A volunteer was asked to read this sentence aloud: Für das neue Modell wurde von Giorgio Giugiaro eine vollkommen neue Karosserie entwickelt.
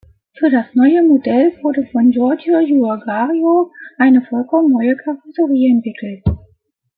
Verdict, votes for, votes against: accepted, 2, 0